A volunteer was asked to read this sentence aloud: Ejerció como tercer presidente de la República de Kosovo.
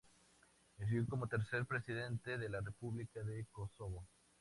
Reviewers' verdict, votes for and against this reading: rejected, 2, 4